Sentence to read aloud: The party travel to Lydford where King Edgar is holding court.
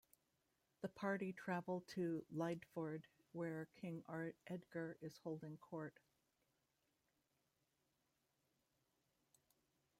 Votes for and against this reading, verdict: 1, 2, rejected